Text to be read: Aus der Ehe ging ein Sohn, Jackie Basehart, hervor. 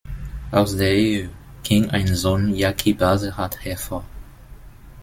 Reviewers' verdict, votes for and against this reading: rejected, 0, 2